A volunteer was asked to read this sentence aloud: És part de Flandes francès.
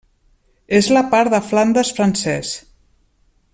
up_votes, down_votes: 0, 2